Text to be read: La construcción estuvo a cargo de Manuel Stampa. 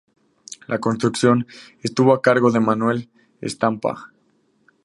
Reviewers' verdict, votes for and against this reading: accepted, 2, 0